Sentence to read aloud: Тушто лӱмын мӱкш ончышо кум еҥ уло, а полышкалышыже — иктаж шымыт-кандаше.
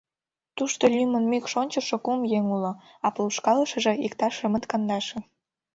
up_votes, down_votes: 3, 0